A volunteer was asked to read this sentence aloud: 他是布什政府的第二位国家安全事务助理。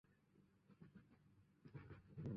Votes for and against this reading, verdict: 2, 3, rejected